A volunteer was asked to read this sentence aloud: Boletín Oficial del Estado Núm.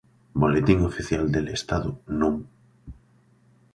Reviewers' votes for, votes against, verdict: 1, 2, rejected